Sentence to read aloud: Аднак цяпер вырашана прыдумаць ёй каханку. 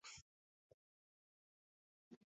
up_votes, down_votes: 1, 2